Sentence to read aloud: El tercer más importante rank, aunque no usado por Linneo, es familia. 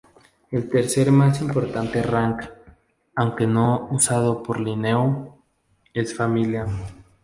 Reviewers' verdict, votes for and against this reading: rejected, 0, 4